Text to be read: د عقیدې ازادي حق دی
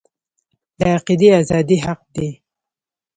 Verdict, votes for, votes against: accepted, 2, 1